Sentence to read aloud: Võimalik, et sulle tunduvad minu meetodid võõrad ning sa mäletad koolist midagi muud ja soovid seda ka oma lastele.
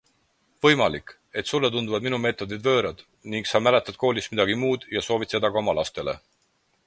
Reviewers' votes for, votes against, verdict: 4, 0, accepted